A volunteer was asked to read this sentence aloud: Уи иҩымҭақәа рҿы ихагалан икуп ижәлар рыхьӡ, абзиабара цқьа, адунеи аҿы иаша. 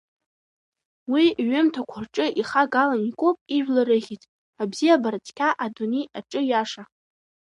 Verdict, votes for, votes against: accepted, 3, 1